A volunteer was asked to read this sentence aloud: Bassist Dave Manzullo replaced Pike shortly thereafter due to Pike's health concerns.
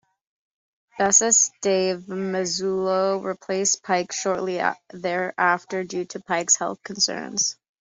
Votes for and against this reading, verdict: 0, 2, rejected